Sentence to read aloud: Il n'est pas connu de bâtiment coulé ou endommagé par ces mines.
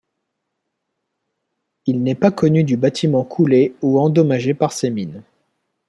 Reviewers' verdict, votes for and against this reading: rejected, 0, 2